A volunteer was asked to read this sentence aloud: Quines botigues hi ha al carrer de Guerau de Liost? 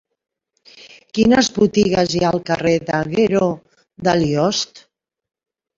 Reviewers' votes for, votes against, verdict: 0, 2, rejected